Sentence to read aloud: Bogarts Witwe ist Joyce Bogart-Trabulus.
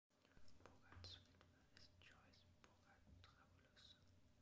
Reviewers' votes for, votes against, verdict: 1, 2, rejected